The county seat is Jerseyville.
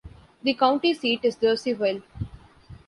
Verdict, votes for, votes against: accepted, 2, 0